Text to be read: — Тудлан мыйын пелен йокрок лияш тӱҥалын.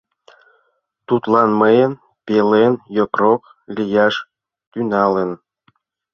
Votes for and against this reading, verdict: 0, 2, rejected